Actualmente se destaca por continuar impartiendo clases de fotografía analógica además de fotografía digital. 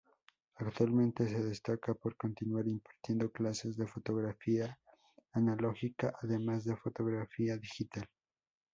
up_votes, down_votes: 2, 0